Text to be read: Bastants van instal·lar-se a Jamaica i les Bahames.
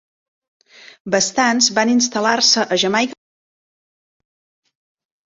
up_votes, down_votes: 0, 2